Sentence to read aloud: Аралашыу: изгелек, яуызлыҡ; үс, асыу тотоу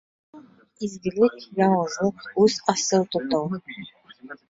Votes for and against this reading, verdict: 0, 2, rejected